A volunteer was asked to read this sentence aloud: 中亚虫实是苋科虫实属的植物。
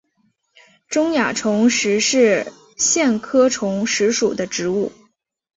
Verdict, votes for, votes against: accepted, 2, 1